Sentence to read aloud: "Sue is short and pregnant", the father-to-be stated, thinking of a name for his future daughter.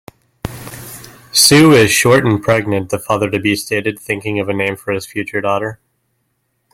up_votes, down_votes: 2, 0